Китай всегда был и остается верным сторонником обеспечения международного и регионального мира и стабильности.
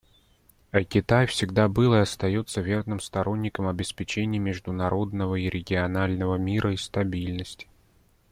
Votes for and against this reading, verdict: 2, 0, accepted